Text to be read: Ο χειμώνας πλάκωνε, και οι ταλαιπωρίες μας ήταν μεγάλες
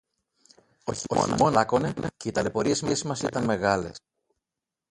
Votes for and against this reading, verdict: 0, 2, rejected